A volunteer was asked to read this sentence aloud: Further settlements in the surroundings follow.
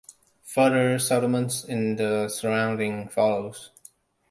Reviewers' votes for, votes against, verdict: 0, 2, rejected